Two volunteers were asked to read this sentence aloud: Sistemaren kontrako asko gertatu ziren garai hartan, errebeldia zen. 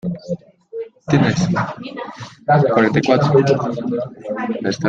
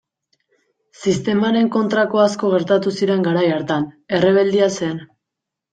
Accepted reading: second